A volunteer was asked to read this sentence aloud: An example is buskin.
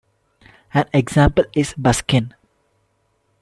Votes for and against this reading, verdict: 2, 0, accepted